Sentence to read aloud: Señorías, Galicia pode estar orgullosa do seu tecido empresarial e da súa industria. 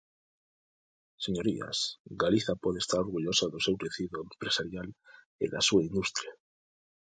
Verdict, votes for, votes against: rejected, 0, 2